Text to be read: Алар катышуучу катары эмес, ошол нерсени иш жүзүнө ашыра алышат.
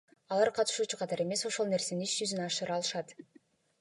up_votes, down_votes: 2, 0